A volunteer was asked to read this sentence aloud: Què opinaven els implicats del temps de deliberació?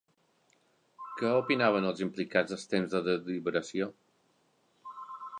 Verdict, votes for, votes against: rejected, 0, 2